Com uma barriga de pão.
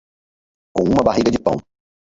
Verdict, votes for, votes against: rejected, 2, 2